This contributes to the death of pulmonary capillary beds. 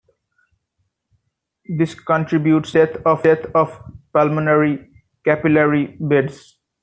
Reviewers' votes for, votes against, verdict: 0, 2, rejected